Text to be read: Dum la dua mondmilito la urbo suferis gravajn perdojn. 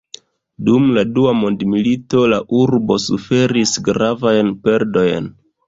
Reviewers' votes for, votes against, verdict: 2, 0, accepted